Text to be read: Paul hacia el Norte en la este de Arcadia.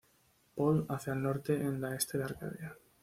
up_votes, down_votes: 1, 2